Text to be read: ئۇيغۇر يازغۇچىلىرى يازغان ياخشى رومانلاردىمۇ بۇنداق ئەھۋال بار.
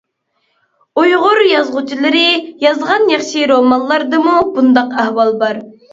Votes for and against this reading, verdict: 3, 0, accepted